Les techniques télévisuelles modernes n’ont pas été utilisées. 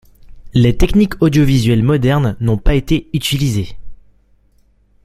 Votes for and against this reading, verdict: 0, 2, rejected